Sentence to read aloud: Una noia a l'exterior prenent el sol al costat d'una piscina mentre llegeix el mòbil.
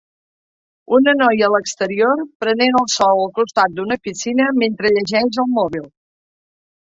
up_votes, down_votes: 6, 0